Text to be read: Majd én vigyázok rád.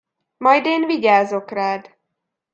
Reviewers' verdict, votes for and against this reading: accepted, 2, 0